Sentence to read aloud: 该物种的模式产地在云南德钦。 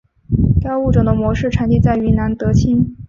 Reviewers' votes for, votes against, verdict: 2, 0, accepted